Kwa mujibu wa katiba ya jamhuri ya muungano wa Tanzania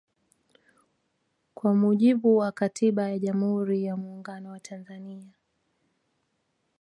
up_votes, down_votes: 2, 0